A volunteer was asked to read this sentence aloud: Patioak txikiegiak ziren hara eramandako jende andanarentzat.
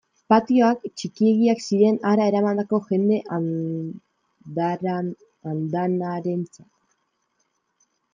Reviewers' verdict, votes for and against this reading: rejected, 0, 2